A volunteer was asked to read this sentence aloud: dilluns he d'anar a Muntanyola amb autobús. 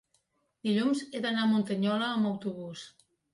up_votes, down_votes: 2, 0